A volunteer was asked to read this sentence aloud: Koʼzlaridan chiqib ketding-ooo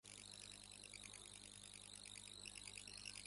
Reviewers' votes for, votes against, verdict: 1, 2, rejected